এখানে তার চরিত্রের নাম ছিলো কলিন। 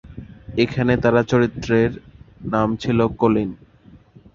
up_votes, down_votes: 0, 2